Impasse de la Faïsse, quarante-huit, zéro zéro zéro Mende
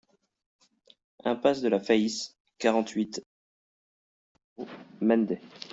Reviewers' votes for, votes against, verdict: 0, 2, rejected